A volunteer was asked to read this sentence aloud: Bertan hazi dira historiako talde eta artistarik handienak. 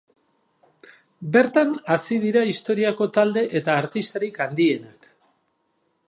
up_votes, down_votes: 2, 0